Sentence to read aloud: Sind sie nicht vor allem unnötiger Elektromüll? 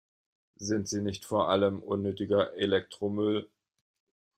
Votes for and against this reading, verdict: 1, 2, rejected